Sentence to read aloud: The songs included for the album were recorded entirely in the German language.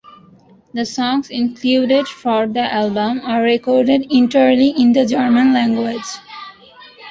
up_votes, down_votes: 0, 2